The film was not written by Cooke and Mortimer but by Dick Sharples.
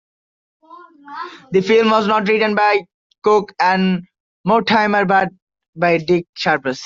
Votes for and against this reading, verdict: 2, 1, accepted